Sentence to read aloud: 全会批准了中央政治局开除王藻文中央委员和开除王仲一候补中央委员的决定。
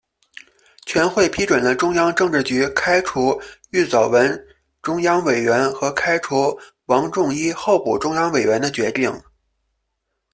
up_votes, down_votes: 0, 2